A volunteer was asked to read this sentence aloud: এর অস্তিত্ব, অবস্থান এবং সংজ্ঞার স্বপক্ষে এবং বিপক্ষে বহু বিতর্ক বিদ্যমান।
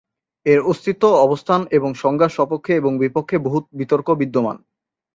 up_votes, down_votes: 0, 2